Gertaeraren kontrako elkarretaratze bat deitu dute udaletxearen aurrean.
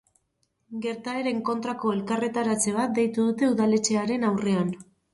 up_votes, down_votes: 0, 4